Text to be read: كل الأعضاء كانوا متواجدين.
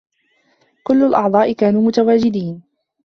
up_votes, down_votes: 2, 0